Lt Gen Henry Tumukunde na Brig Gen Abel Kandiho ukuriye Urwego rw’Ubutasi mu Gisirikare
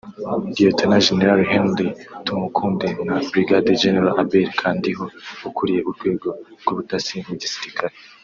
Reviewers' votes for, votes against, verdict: 0, 2, rejected